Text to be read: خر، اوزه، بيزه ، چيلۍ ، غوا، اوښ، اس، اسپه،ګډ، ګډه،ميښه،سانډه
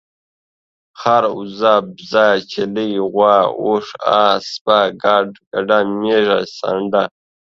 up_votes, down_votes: 2, 0